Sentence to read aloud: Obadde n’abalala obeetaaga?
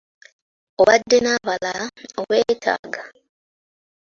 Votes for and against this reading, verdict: 0, 2, rejected